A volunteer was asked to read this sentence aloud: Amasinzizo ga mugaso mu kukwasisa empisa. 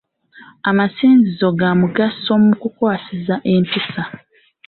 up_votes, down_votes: 2, 0